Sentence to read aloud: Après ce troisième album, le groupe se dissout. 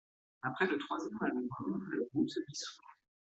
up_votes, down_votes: 0, 2